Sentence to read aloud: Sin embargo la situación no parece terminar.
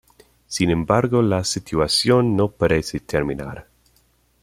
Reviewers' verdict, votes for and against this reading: rejected, 0, 2